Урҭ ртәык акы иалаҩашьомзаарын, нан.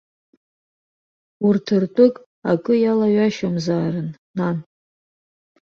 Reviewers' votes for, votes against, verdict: 2, 0, accepted